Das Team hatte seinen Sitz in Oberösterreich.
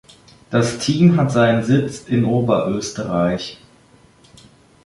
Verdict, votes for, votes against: accepted, 2, 0